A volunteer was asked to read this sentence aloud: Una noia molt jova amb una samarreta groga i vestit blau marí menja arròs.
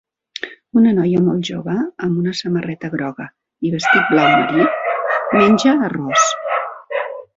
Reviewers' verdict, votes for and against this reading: rejected, 1, 2